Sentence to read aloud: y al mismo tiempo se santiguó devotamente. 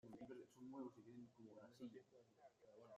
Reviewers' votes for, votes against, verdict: 0, 2, rejected